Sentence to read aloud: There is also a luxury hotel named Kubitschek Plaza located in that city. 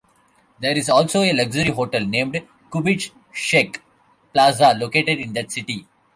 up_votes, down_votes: 1, 2